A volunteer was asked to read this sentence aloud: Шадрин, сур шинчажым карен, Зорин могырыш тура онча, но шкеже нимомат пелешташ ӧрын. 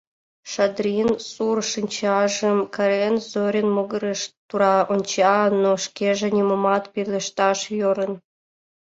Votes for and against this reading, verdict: 0, 2, rejected